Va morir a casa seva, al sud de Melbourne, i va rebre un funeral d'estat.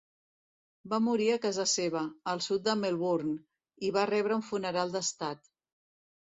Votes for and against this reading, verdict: 2, 0, accepted